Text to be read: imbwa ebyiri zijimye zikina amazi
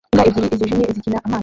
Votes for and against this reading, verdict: 0, 2, rejected